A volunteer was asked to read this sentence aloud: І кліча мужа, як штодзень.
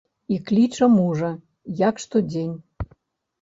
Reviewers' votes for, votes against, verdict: 2, 0, accepted